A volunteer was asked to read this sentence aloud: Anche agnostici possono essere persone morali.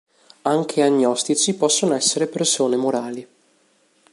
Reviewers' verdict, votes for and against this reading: accepted, 2, 0